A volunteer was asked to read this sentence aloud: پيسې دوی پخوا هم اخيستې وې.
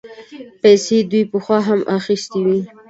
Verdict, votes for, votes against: accepted, 2, 0